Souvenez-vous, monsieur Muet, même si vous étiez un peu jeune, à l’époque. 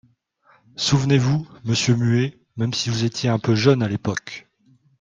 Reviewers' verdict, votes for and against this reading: accepted, 4, 0